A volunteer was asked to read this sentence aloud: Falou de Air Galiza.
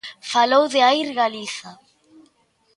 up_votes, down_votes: 2, 0